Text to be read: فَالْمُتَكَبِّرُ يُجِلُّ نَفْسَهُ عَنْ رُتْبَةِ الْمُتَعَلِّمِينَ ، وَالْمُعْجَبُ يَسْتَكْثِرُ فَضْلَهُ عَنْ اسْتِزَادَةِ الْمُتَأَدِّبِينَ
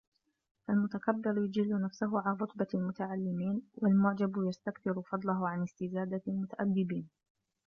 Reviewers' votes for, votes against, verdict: 0, 2, rejected